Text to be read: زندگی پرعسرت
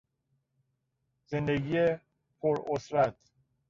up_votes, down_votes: 1, 2